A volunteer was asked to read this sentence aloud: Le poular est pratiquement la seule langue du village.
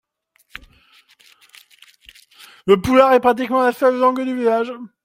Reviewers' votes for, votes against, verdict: 2, 1, accepted